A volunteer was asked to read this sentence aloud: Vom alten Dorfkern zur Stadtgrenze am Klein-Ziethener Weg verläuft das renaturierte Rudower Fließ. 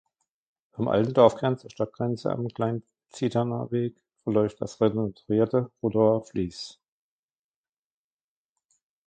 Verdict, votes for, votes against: rejected, 1, 2